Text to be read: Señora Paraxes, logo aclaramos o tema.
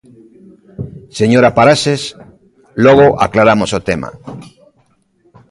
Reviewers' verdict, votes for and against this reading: accepted, 2, 0